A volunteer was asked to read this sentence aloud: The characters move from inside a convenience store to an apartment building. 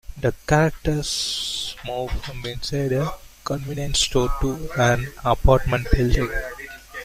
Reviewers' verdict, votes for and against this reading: rejected, 1, 2